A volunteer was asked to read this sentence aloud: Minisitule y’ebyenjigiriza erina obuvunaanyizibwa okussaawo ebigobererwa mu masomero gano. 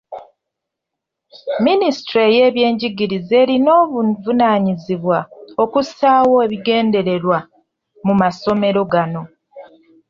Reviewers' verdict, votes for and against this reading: rejected, 0, 2